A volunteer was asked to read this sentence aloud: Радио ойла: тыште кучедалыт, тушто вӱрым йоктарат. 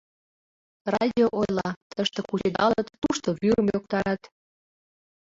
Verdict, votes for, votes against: rejected, 1, 2